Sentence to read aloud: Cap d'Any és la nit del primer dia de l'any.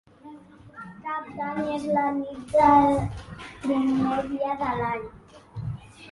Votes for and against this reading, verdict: 1, 2, rejected